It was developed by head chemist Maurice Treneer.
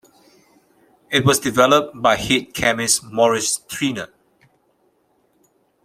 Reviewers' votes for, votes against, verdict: 0, 2, rejected